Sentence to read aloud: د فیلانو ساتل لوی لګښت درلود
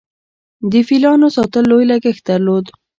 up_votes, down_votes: 1, 2